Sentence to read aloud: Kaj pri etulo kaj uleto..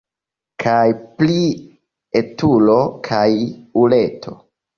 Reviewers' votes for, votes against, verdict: 2, 1, accepted